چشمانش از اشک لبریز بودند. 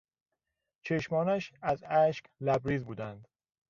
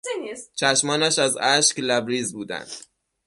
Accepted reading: first